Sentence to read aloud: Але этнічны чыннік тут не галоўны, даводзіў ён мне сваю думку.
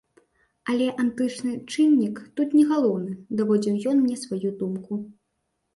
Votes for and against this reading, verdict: 1, 2, rejected